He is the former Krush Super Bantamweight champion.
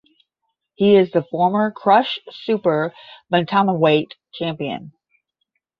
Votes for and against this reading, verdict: 5, 5, rejected